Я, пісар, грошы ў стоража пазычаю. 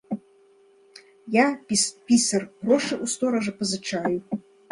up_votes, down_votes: 1, 2